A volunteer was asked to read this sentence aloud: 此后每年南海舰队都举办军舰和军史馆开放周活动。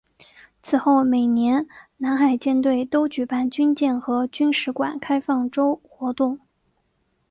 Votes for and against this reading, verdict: 5, 0, accepted